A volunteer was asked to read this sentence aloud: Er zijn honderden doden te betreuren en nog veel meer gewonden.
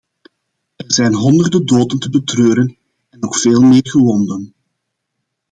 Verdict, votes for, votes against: accepted, 2, 0